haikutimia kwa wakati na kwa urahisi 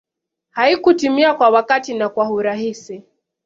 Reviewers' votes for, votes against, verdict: 2, 0, accepted